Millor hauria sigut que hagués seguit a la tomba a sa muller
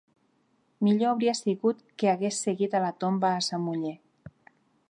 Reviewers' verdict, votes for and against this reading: accepted, 2, 0